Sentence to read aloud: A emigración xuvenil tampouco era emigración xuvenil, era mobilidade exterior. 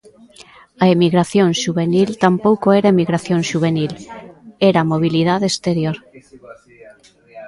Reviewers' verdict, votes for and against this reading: accepted, 2, 0